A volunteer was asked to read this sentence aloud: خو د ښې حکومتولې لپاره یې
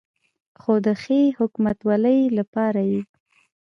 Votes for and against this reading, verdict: 2, 0, accepted